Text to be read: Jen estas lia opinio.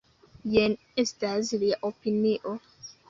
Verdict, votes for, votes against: accepted, 2, 0